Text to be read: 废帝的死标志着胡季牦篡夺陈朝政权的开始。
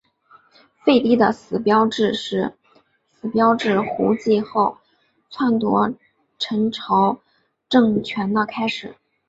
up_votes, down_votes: 2, 0